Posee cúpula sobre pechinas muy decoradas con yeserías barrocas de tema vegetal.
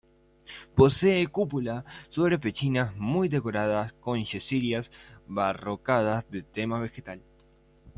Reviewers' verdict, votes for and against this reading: rejected, 0, 2